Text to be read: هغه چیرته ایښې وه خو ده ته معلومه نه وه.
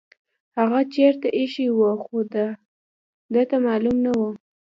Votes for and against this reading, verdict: 2, 0, accepted